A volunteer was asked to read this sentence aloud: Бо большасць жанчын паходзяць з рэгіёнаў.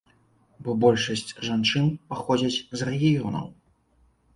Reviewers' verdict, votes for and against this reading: accepted, 2, 0